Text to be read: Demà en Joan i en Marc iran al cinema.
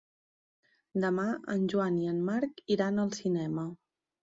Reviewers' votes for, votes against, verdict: 3, 0, accepted